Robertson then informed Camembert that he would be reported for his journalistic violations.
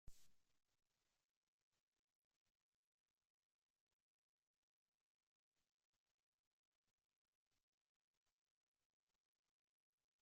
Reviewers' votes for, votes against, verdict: 0, 2, rejected